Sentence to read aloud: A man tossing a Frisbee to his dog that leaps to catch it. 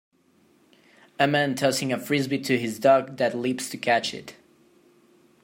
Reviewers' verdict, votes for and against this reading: accepted, 2, 0